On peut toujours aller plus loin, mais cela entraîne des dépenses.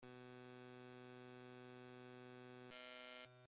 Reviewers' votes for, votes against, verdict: 0, 2, rejected